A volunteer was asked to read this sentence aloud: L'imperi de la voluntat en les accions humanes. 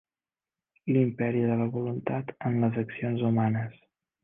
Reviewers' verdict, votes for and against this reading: rejected, 1, 2